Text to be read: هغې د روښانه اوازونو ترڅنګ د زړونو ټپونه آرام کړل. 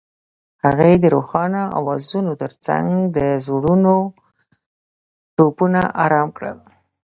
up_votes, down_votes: 1, 2